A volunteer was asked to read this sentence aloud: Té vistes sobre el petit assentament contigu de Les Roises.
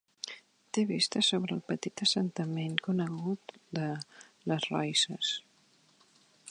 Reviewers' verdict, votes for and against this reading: rejected, 1, 2